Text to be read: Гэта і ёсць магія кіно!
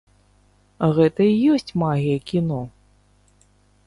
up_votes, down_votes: 2, 0